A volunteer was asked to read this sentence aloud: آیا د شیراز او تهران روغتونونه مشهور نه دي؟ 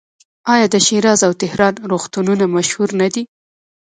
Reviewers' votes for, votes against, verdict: 2, 0, accepted